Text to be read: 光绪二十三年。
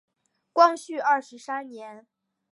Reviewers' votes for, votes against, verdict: 3, 0, accepted